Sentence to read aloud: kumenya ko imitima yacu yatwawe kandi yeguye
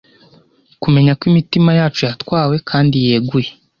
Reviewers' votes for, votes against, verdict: 2, 0, accepted